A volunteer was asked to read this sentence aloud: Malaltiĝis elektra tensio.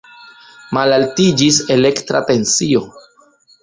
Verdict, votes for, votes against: accepted, 2, 0